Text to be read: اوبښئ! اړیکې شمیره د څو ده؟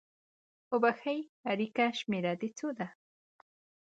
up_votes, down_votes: 2, 0